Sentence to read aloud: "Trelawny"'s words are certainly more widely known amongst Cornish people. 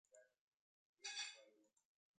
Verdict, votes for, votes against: rejected, 0, 2